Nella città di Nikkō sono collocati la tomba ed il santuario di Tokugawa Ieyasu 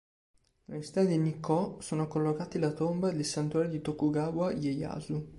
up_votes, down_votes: 2, 0